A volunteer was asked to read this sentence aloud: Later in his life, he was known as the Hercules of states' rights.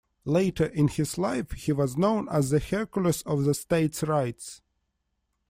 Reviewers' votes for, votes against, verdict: 1, 2, rejected